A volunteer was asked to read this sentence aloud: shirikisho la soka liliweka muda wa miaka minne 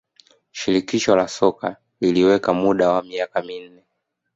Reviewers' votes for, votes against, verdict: 1, 2, rejected